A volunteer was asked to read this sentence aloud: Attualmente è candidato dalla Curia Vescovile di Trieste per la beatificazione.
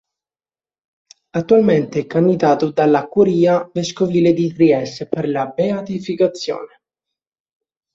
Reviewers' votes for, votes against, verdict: 1, 2, rejected